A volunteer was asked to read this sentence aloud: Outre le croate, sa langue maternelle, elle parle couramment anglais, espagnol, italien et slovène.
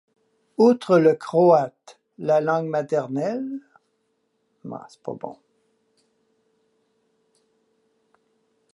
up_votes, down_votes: 0, 2